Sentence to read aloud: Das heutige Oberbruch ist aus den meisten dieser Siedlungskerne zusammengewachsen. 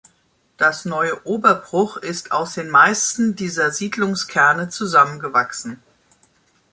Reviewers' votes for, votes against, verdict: 1, 2, rejected